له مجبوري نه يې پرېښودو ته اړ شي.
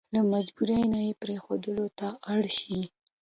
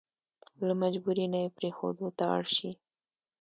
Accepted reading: second